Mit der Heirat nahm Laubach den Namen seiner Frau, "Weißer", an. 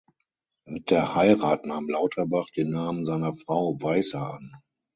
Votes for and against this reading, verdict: 3, 6, rejected